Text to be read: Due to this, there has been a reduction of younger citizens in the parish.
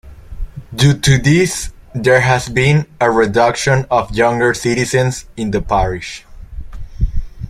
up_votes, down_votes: 2, 0